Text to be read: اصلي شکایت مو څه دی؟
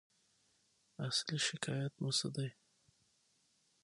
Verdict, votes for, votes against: accepted, 6, 0